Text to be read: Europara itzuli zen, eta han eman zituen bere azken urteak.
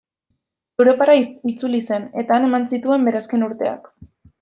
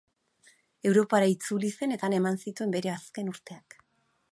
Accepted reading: second